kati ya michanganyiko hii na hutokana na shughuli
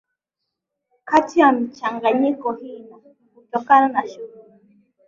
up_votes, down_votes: 2, 0